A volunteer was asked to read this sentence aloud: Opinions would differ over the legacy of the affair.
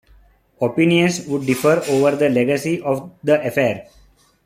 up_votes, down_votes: 2, 0